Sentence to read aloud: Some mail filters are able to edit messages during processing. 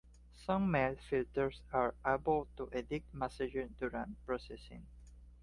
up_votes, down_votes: 2, 0